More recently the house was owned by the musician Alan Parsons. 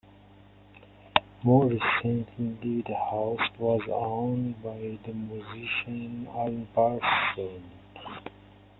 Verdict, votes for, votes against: rejected, 1, 2